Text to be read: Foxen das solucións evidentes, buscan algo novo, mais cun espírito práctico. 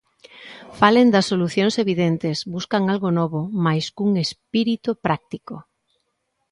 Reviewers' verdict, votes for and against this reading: rejected, 0, 2